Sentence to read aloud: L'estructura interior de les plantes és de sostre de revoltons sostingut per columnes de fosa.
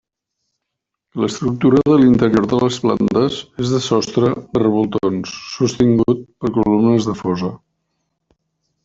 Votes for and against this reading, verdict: 1, 2, rejected